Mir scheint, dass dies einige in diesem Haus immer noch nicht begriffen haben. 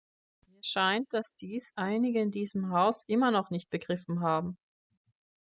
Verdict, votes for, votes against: rejected, 0, 2